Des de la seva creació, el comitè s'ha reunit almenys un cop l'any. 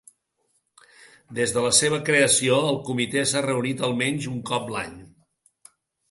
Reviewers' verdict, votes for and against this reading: accepted, 2, 0